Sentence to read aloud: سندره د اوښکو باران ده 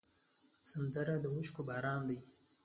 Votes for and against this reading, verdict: 2, 0, accepted